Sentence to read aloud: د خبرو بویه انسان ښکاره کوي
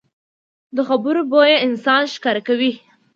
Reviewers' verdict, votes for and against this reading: accepted, 2, 0